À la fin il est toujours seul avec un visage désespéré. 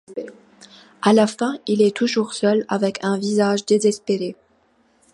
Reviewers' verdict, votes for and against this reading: accepted, 2, 0